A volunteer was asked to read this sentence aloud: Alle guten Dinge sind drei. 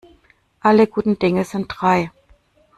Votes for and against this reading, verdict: 2, 0, accepted